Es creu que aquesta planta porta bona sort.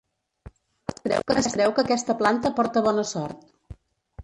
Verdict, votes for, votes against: rejected, 0, 3